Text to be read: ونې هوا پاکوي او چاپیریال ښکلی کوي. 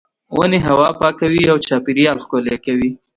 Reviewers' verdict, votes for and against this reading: rejected, 0, 2